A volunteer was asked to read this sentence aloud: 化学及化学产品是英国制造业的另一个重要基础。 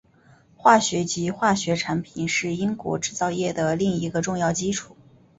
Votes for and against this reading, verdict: 2, 0, accepted